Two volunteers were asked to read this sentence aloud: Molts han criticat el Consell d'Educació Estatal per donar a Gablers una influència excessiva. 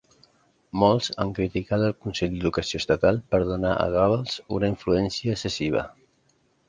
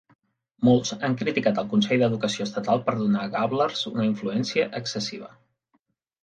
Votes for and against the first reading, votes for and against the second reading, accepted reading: 0, 2, 3, 0, second